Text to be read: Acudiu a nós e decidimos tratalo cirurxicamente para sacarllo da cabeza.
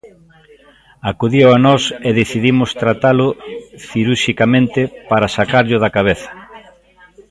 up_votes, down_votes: 0, 2